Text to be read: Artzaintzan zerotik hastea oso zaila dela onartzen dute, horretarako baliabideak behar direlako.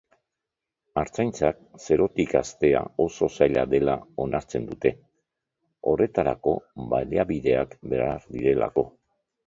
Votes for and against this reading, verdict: 2, 0, accepted